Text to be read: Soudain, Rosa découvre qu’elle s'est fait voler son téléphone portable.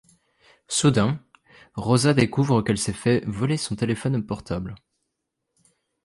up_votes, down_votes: 2, 0